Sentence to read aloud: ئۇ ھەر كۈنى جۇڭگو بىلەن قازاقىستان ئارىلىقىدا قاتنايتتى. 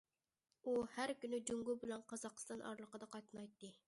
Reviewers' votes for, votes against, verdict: 2, 0, accepted